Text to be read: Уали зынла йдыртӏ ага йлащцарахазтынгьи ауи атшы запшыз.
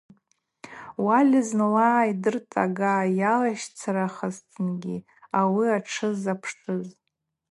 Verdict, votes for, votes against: rejected, 2, 2